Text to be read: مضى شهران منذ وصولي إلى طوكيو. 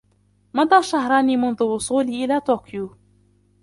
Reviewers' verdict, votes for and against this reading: rejected, 1, 2